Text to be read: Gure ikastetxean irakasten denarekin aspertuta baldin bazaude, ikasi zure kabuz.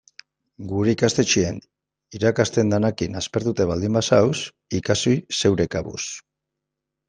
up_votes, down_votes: 0, 2